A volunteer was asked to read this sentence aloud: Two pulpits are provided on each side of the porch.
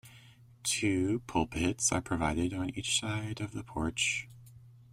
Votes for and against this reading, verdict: 2, 1, accepted